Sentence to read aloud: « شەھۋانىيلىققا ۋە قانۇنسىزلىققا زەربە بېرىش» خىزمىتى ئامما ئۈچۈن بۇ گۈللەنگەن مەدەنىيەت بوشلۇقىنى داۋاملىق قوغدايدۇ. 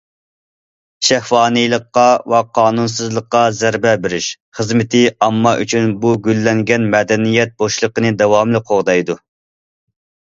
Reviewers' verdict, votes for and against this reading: accepted, 2, 0